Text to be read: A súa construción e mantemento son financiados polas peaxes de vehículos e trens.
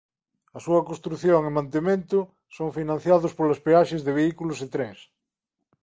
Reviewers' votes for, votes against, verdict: 2, 0, accepted